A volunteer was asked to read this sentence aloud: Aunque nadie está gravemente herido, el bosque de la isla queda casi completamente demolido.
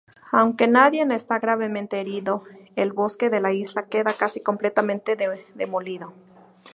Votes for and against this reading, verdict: 0, 2, rejected